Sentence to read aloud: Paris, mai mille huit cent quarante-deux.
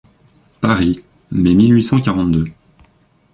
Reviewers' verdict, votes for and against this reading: accepted, 2, 0